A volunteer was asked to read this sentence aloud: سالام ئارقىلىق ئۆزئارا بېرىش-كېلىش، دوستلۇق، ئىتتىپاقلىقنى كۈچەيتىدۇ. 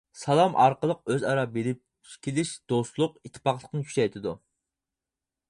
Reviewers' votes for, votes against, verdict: 2, 4, rejected